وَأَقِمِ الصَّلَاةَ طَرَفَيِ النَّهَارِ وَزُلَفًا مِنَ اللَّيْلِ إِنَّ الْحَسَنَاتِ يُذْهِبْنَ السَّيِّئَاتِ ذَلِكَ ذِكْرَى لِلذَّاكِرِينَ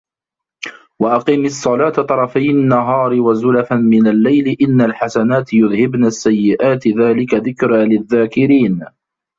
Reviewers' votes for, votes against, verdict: 1, 2, rejected